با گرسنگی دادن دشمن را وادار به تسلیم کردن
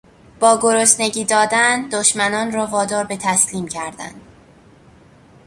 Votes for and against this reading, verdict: 1, 2, rejected